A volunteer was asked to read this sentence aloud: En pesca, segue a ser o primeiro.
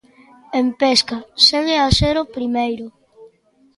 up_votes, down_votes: 2, 0